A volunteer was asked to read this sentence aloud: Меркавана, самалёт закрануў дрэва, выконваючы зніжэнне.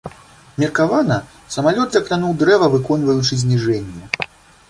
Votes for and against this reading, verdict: 2, 0, accepted